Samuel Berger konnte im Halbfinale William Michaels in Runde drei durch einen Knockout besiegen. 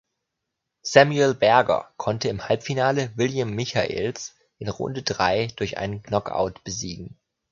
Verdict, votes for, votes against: accepted, 2, 1